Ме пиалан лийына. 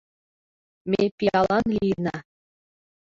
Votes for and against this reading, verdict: 2, 1, accepted